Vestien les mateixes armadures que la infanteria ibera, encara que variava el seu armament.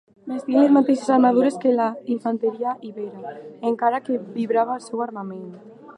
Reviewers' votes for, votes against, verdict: 1, 2, rejected